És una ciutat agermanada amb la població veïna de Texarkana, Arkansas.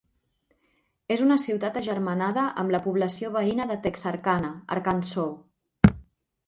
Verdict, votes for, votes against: rejected, 1, 2